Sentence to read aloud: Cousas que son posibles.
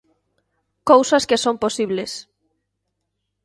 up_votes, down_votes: 2, 0